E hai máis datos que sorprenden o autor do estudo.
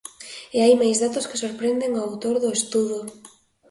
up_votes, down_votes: 2, 0